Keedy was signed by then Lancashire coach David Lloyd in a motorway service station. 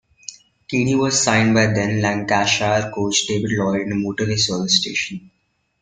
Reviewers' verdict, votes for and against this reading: rejected, 0, 2